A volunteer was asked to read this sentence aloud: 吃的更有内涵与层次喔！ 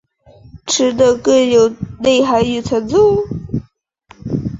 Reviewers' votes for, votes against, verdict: 1, 3, rejected